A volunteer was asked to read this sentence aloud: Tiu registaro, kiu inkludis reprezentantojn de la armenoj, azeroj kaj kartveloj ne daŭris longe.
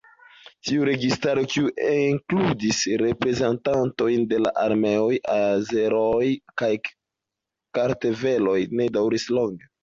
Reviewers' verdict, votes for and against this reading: rejected, 0, 2